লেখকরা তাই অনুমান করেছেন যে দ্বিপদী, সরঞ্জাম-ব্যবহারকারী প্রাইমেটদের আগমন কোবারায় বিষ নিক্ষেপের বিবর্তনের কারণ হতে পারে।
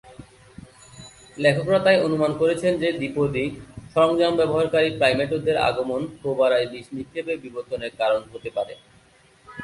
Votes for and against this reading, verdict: 0, 2, rejected